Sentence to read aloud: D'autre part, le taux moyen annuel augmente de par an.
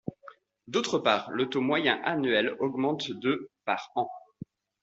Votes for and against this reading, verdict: 2, 0, accepted